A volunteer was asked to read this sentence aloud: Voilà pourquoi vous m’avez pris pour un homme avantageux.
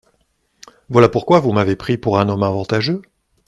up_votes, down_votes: 2, 0